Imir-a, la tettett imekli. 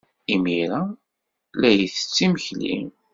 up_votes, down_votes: 1, 2